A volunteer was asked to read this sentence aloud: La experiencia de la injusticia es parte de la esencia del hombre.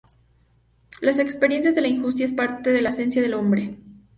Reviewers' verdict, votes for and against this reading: rejected, 0, 2